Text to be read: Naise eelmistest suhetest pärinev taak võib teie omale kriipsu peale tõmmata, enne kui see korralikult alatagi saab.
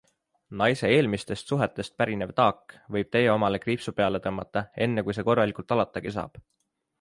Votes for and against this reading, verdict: 3, 0, accepted